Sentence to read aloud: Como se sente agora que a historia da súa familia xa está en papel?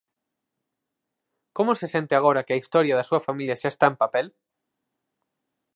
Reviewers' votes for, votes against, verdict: 4, 0, accepted